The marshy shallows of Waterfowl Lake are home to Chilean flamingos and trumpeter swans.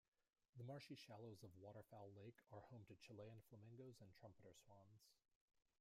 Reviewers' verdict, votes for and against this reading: accepted, 2, 0